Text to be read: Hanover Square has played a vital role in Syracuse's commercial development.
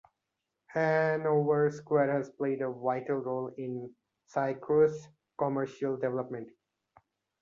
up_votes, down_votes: 2, 0